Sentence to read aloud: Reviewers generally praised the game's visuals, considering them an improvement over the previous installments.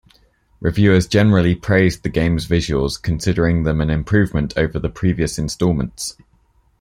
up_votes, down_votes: 2, 0